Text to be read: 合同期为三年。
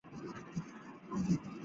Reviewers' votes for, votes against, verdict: 1, 5, rejected